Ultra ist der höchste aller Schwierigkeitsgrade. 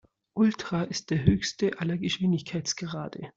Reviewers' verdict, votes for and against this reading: rejected, 0, 2